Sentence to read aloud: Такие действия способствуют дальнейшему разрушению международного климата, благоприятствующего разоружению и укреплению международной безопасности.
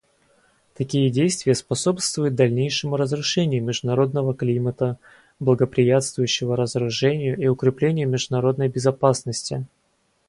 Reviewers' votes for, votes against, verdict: 2, 0, accepted